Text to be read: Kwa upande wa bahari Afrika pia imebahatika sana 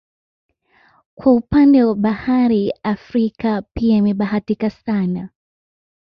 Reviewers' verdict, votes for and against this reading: accepted, 2, 1